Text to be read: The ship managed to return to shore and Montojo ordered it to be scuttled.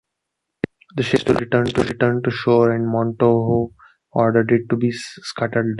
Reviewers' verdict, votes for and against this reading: rejected, 0, 2